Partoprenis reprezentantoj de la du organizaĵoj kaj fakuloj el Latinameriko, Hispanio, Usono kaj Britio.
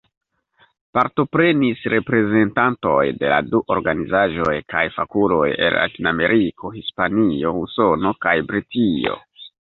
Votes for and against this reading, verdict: 2, 1, accepted